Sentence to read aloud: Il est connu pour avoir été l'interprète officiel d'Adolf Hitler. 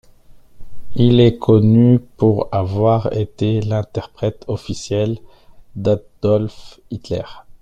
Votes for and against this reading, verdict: 2, 0, accepted